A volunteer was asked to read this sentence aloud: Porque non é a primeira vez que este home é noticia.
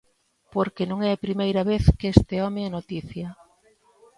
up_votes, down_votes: 2, 1